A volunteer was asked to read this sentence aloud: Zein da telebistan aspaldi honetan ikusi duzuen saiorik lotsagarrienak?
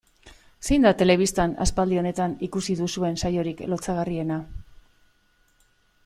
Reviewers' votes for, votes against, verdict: 2, 1, accepted